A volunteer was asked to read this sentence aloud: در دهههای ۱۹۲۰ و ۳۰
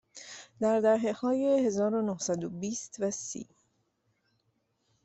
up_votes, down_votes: 0, 2